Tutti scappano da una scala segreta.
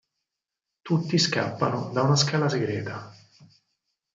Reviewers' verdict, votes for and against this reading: accepted, 4, 0